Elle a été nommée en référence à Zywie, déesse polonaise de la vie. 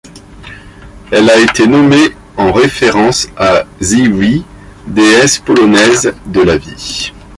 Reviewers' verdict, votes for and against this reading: accepted, 2, 0